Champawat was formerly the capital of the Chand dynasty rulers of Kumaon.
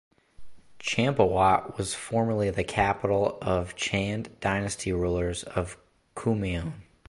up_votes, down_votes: 1, 2